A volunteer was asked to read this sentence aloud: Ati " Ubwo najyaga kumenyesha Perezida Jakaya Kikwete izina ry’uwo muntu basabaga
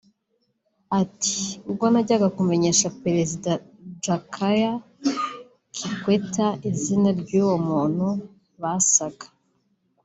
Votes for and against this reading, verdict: 0, 2, rejected